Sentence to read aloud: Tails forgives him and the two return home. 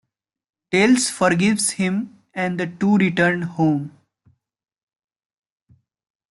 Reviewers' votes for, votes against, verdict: 1, 2, rejected